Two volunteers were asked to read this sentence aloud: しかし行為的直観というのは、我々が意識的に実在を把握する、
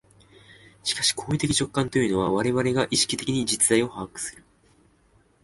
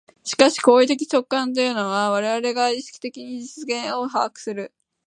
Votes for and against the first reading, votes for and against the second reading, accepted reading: 2, 0, 0, 4, first